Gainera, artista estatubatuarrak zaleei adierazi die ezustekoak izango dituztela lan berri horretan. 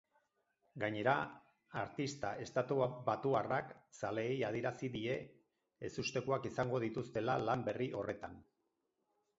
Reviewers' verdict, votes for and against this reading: rejected, 2, 4